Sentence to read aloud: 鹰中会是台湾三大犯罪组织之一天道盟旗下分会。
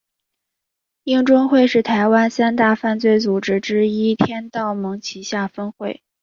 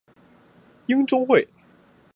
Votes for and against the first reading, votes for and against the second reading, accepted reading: 3, 0, 0, 3, first